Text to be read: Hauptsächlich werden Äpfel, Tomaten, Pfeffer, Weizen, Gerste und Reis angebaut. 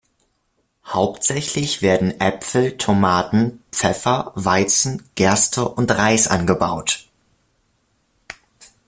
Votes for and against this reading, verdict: 2, 0, accepted